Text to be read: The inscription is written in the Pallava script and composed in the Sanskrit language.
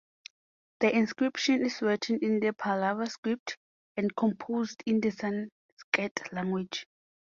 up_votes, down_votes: 2, 0